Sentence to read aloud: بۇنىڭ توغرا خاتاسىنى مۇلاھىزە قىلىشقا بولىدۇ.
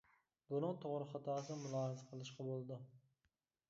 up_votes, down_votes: 0, 2